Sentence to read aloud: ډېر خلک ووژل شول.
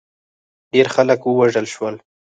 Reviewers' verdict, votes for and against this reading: rejected, 2, 4